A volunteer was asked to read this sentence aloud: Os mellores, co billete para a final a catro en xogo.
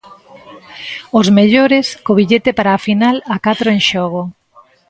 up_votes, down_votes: 2, 0